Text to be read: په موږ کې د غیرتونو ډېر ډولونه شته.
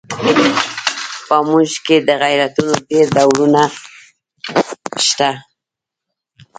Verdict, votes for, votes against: rejected, 0, 2